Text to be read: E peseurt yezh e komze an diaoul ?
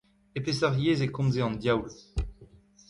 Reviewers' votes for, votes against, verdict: 2, 0, accepted